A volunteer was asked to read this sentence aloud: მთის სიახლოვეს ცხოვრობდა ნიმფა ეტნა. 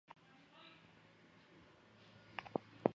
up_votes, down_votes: 0, 2